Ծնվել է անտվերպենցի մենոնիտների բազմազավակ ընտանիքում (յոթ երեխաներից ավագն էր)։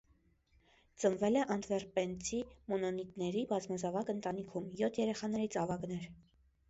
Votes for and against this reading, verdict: 1, 2, rejected